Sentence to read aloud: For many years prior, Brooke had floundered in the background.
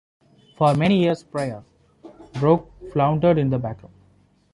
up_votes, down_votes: 0, 2